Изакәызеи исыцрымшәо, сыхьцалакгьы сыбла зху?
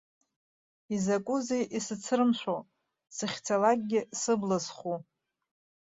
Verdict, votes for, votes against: accepted, 2, 0